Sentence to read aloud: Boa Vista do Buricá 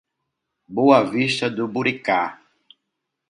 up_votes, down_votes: 2, 0